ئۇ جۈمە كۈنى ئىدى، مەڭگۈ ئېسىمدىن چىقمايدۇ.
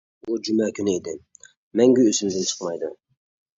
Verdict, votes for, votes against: rejected, 0, 2